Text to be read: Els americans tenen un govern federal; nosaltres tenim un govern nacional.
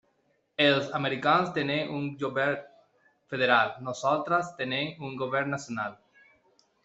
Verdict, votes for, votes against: rejected, 1, 2